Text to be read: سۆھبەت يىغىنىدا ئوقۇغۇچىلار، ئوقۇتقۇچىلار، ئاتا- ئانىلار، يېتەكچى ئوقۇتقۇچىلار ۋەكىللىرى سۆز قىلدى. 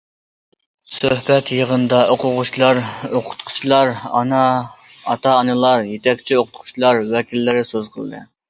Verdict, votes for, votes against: rejected, 0, 2